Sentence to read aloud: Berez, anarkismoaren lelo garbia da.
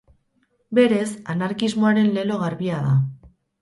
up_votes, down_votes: 4, 0